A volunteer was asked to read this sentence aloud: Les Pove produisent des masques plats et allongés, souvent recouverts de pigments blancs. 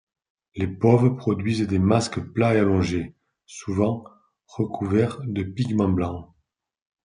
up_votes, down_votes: 2, 0